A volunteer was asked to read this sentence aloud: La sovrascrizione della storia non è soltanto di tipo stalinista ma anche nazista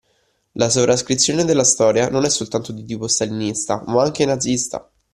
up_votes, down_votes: 2, 0